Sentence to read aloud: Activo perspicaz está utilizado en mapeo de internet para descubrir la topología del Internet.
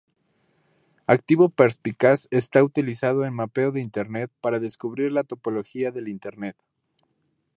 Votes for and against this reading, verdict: 4, 0, accepted